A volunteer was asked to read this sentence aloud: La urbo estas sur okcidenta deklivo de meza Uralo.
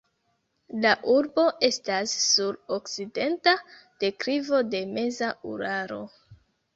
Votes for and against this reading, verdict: 0, 2, rejected